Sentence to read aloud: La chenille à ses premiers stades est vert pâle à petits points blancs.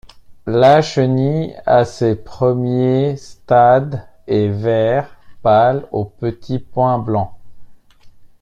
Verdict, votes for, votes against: rejected, 1, 2